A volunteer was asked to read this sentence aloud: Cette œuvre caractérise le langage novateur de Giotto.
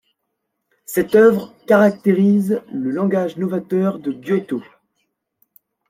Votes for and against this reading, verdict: 2, 0, accepted